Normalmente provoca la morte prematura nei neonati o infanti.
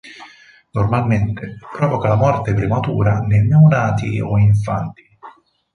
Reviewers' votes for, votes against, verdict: 4, 2, accepted